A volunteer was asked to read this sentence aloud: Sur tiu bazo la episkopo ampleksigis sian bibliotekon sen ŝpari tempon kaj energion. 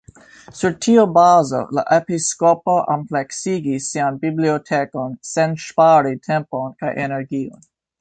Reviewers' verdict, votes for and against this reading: rejected, 1, 3